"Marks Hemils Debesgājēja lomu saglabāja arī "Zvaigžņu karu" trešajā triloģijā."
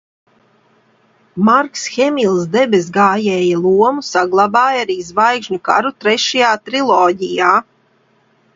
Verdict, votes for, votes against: accepted, 2, 0